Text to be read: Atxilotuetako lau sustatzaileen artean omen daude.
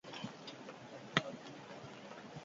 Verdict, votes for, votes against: rejected, 0, 4